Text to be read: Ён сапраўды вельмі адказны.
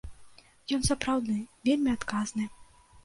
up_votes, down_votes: 0, 2